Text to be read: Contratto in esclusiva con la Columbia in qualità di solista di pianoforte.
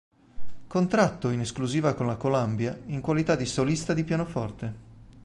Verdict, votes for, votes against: rejected, 2, 3